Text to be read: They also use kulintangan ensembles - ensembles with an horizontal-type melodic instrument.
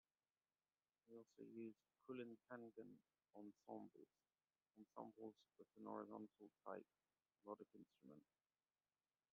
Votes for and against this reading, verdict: 0, 2, rejected